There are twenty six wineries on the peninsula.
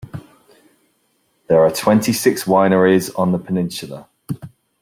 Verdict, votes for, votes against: accepted, 2, 0